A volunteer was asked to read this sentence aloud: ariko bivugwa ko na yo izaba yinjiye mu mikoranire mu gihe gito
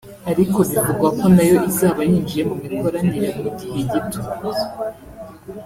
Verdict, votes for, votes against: accepted, 2, 0